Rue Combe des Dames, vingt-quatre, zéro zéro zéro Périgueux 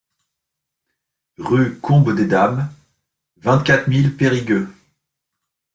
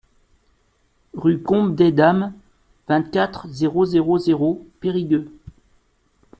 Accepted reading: second